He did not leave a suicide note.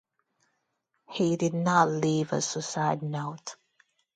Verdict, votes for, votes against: rejected, 0, 2